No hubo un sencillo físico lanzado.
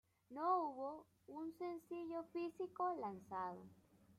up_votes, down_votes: 0, 2